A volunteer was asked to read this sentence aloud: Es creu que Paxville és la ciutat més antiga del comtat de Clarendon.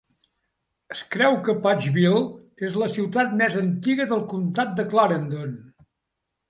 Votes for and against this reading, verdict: 2, 0, accepted